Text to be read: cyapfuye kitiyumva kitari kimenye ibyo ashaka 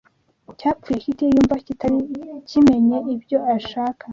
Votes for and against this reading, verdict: 2, 0, accepted